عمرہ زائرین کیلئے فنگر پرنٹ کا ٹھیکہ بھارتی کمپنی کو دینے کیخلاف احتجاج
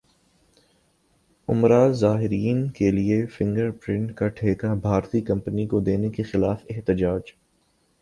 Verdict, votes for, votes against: accepted, 2, 0